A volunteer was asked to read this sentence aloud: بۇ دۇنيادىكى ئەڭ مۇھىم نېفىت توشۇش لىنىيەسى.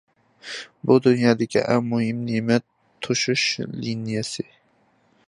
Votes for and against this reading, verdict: 0, 2, rejected